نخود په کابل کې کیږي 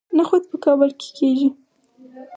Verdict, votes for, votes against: accepted, 4, 0